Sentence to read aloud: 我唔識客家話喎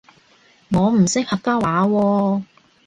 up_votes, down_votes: 2, 0